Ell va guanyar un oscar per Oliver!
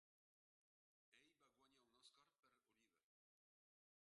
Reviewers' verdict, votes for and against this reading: rejected, 1, 3